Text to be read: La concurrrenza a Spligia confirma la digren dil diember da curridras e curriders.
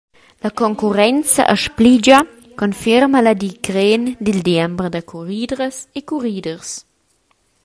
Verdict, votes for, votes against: accepted, 2, 0